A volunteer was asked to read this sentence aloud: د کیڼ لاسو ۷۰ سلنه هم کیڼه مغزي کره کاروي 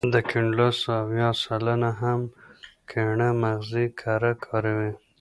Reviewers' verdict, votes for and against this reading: rejected, 0, 2